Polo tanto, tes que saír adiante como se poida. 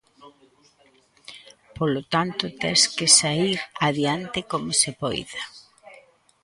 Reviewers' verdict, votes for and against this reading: rejected, 0, 2